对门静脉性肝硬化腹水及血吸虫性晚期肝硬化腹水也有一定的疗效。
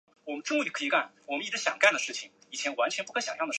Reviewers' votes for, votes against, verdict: 0, 2, rejected